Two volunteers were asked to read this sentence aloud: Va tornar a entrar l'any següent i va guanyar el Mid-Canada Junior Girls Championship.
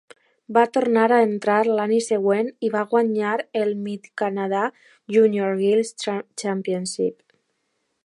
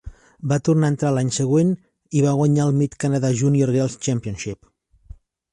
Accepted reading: second